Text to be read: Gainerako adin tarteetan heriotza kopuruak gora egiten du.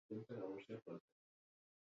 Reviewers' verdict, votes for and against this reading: rejected, 0, 6